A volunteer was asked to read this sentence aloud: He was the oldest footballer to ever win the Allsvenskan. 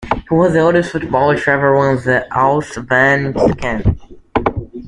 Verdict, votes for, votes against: accepted, 2, 0